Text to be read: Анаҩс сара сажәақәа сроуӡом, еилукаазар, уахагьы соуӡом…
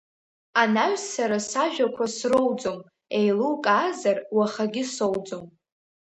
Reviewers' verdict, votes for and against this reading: rejected, 0, 2